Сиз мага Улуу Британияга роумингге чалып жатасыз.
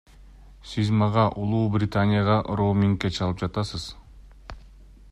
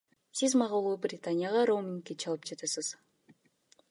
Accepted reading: first